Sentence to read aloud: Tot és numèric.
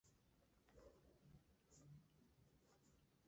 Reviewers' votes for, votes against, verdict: 0, 2, rejected